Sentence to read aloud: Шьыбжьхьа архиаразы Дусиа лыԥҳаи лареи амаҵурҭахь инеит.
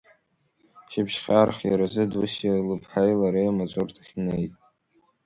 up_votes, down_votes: 2, 1